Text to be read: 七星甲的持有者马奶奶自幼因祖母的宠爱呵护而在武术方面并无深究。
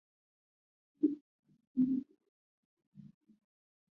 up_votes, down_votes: 2, 2